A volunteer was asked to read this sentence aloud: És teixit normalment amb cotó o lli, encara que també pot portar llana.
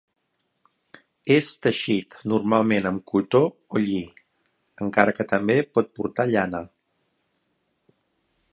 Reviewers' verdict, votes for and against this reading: accepted, 3, 0